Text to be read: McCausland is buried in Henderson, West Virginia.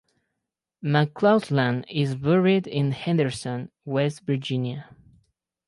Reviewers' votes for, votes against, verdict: 4, 2, accepted